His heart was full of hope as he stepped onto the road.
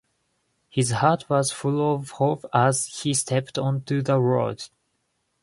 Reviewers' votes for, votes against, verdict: 2, 0, accepted